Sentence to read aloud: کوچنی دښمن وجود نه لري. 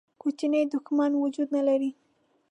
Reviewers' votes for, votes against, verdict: 2, 0, accepted